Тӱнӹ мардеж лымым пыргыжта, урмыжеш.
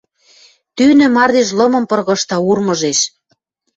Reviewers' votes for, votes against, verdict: 2, 0, accepted